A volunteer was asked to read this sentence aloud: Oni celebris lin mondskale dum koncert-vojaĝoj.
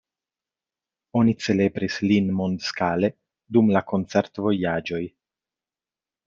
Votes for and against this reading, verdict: 1, 2, rejected